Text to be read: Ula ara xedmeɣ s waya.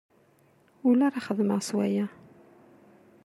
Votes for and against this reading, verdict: 0, 2, rejected